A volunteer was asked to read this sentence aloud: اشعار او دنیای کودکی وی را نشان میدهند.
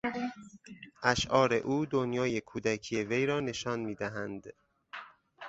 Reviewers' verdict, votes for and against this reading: accepted, 6, 0